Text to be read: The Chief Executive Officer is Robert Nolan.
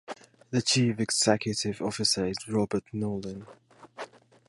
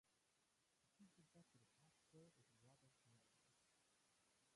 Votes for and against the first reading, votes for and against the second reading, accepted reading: 2, 0, 0, 2, first